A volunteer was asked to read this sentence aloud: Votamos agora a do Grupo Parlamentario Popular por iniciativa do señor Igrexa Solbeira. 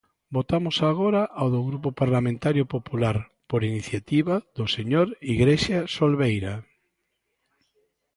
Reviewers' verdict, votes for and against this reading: accepted, 2, 0